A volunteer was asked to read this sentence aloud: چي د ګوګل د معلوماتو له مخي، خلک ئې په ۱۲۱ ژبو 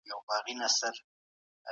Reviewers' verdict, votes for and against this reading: rejected, 0, 2